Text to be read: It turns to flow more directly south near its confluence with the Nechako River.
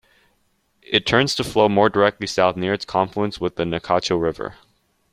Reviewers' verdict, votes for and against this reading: accepted, 2, 0